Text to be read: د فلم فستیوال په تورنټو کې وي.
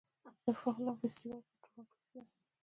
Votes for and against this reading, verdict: 1, 2, rejected